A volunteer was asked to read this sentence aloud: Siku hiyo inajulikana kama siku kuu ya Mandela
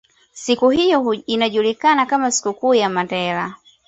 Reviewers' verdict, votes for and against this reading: accepted, 2, 0